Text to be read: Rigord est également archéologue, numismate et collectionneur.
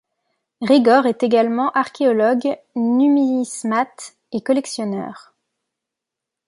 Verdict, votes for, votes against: rejected, 0, 2